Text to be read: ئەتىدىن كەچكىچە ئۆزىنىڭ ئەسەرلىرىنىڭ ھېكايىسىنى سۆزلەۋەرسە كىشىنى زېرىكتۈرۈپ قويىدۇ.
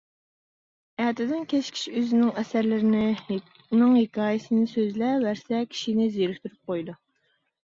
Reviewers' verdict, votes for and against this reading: rejected, 0, 2